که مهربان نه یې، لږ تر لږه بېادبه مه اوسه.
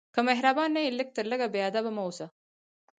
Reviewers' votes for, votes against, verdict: 2, 4, rejected